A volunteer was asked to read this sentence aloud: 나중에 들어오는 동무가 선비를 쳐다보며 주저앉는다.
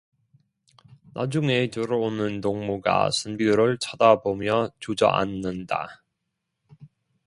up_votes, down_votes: 0, 2